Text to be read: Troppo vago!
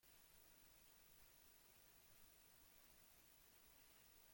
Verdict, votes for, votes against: rejected, 0, 2